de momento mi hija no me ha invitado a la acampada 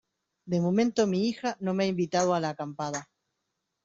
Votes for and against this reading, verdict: 2, 0, accepted